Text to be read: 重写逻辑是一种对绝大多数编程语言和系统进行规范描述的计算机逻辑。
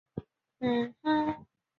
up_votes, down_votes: 0, 3